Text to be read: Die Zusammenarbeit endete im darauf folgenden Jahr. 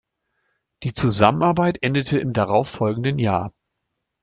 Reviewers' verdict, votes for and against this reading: accepted, 2, 0